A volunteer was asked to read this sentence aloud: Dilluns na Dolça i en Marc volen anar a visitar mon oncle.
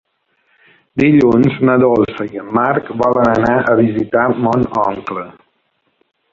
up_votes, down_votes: 0, 2